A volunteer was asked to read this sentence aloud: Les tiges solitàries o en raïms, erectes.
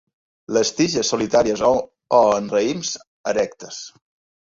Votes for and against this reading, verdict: 0, 2, rejected